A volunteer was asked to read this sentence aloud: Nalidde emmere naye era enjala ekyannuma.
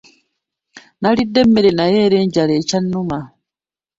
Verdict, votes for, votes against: rejected, 1, 2